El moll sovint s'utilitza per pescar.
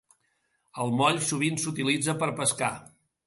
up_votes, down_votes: 2, 0